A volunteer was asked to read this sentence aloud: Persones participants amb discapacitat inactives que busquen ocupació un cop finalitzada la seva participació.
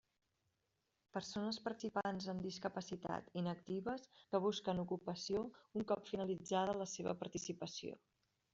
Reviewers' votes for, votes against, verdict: 0, 2, rejected